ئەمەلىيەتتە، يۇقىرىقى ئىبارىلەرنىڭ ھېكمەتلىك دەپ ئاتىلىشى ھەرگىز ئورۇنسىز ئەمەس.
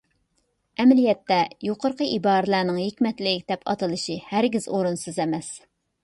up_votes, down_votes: 2, 0